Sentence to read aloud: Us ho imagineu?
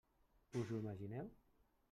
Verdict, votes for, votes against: rejected, 1, 2